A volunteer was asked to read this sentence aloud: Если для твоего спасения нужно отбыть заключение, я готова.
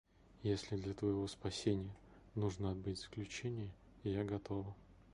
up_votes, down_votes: 2, 0